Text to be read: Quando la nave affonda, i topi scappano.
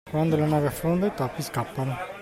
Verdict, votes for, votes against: accepted, 2, 0